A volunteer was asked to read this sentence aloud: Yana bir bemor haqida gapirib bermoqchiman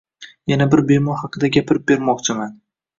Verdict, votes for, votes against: accepted, 2, 0